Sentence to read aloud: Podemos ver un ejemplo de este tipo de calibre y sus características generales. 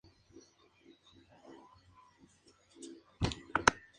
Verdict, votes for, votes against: rejected, 0, 4